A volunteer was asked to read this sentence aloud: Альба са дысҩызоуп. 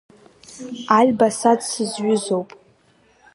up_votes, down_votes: 0, 2